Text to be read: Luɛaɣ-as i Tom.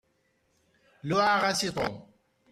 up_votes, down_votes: 1, 2